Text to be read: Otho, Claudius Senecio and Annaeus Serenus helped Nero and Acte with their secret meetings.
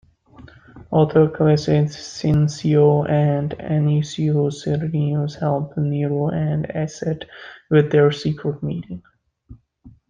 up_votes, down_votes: 0, 2